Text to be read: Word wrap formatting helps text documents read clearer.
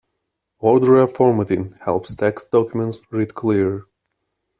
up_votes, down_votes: 0, 2